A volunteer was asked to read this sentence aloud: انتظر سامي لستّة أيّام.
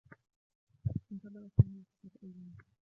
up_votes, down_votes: 1, 2